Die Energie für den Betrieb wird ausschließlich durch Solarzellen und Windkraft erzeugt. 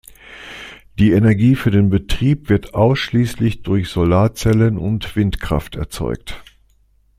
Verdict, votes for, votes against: accepted, 2, 0